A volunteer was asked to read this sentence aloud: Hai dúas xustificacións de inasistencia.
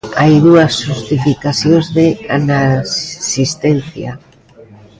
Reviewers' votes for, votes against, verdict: 0, 2, rejected